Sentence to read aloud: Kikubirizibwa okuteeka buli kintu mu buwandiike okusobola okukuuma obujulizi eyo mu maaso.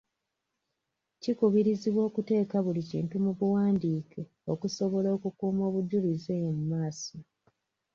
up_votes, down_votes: 2, 0